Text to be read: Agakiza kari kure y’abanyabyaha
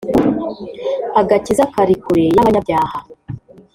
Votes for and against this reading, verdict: 3, 0, accepted